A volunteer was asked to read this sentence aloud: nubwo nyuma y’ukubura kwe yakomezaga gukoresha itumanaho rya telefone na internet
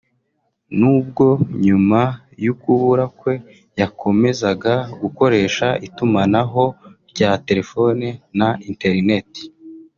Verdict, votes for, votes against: accepted, 2, 0